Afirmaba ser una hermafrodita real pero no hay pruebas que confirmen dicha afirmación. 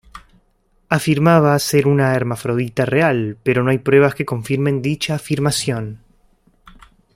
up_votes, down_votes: 2, 0